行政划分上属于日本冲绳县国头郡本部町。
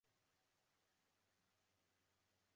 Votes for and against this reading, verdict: 0, 3, rejected